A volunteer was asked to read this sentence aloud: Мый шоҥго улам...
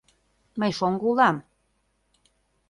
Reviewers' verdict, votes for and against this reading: accepted, 2, 0